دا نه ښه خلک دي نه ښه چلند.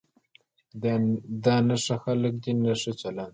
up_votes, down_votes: 1, 2